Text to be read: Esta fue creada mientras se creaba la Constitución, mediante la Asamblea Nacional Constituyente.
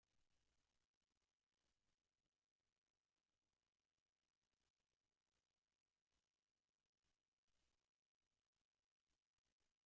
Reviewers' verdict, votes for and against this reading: rejected, 1, 2